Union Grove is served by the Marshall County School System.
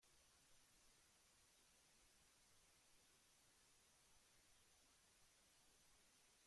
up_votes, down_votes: 0, 2